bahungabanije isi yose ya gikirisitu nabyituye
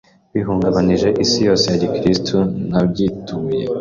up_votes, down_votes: 2, 0